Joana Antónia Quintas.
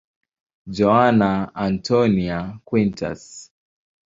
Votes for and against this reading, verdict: 2, 0, accepted